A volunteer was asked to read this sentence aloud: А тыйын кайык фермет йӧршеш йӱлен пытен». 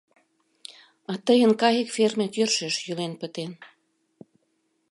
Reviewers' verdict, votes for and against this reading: accepted, 2, 0